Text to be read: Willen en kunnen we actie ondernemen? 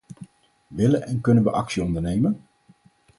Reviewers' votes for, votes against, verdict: 4, 0, accepted